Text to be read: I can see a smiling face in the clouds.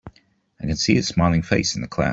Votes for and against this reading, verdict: 1, 2, rejected